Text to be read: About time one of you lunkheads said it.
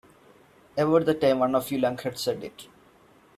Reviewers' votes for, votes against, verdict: 1, 2, rejected